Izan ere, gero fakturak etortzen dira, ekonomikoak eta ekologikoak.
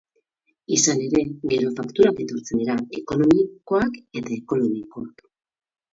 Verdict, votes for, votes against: rejected, 0, 2